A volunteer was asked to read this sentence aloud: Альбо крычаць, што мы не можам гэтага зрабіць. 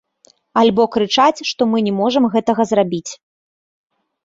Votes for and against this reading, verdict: 2, 0, accepted